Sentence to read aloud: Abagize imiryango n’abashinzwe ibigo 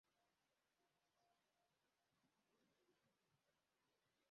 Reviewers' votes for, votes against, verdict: 0, 2, rejected